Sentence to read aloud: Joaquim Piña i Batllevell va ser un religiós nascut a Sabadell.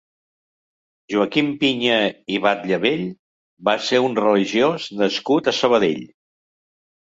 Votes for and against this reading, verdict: 2, 0, accepted